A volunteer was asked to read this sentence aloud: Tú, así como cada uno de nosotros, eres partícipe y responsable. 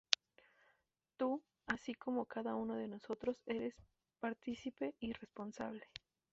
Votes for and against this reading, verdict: 0, 2, rejected